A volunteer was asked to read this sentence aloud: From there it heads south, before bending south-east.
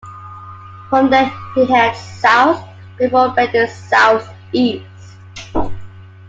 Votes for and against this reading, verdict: 1, 2, rejected